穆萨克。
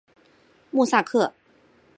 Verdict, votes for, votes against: accepted, 2, 0